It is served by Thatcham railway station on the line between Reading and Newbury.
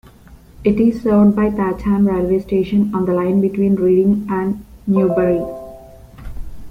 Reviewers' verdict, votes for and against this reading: rejected, 0, 2